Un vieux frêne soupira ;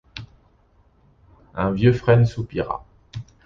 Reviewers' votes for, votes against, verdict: 2, 0, accepted